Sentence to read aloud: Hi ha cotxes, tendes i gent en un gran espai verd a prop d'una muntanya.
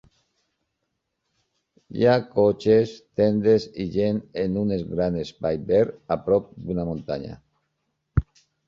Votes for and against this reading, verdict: 1, 2, rejected